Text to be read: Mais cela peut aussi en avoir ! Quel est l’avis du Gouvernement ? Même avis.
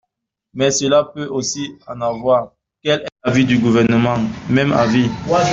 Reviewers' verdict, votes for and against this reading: rejected, 1, 2